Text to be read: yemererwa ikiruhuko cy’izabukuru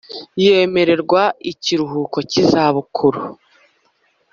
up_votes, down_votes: 5, 0